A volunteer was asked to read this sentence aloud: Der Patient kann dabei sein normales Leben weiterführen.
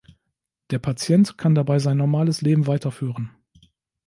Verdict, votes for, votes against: accepted, 2, 0